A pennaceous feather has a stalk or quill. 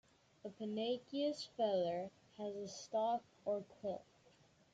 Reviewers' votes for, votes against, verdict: 2, 1, accepted